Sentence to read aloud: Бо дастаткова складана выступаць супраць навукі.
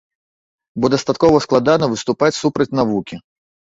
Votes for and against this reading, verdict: 3, 0, accepted